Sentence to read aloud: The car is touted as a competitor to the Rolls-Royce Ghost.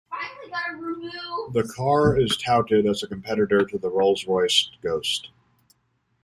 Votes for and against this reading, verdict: 1, 2, rejected